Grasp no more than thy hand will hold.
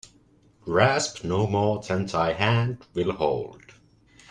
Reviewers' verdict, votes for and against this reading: accepted, 2, 0